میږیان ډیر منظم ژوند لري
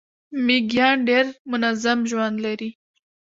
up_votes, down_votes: 0, 2